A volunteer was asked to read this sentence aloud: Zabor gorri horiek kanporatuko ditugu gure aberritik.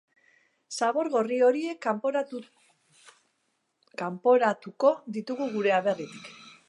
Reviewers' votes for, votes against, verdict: 0, 2, rejected